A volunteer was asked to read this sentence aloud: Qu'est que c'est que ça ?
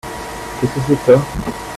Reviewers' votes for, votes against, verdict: 2, 0, accepted